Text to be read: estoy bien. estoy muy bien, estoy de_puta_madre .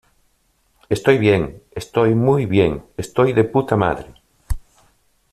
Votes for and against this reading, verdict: 2, 0, accepted